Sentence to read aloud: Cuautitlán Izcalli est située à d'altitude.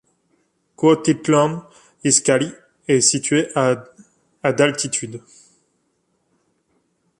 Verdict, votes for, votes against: rejected, 0, 2